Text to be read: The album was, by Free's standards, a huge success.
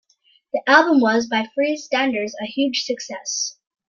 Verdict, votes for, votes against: accepted, 2, 0